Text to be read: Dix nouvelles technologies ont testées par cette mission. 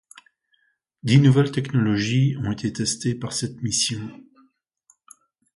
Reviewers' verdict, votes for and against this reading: rejected, 0, 2